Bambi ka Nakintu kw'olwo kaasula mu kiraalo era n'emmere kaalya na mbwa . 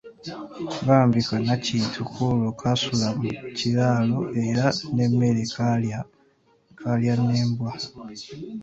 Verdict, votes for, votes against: rejected, 1, 2